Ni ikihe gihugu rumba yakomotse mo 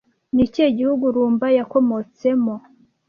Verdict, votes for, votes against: accepted, 2, 0